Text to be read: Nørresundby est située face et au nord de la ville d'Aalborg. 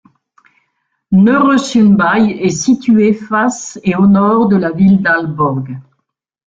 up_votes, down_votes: 1, 2